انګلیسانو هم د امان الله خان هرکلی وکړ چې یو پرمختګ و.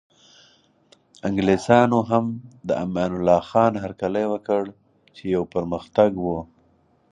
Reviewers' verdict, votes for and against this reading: rejected, 0, 4